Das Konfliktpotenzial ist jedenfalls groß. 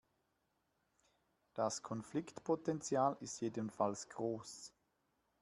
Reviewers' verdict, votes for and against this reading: accepted, 2, 0